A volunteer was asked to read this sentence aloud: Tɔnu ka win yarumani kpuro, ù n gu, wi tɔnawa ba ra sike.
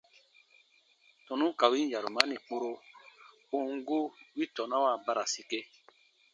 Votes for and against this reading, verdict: 2, 0, accepted